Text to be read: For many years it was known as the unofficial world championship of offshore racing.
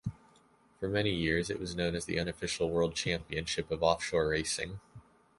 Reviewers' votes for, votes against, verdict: 2, 0, accepted